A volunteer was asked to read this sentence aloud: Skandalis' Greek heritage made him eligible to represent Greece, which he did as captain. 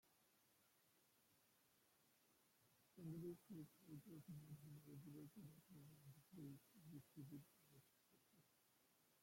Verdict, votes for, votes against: rejected, 0, 2